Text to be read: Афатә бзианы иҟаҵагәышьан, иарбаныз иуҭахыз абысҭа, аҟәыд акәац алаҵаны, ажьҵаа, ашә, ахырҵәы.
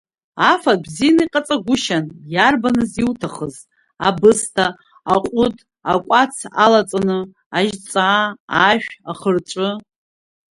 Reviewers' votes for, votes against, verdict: 2, 0, accepted